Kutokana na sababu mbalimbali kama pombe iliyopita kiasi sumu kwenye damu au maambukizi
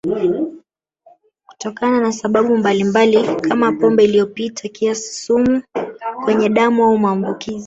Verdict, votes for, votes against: accepted, 2, 0